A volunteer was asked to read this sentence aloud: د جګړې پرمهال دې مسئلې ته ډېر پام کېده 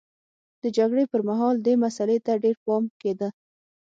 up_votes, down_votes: 6, 0